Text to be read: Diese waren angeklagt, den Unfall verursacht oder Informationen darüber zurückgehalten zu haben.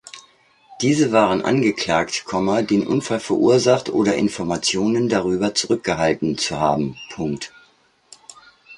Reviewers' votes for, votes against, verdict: 2, 1, accepted